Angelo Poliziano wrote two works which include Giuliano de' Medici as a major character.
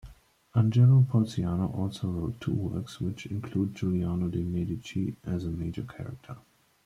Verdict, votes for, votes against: rejected, 0, 2